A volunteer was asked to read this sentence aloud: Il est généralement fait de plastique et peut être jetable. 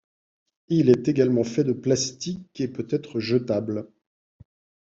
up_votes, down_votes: 1, 2